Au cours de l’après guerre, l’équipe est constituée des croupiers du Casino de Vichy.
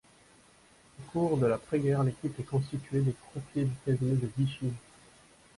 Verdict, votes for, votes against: rejected, 1, 2